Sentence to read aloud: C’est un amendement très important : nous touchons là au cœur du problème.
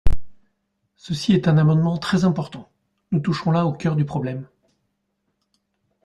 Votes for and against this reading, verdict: 0, 2, rejected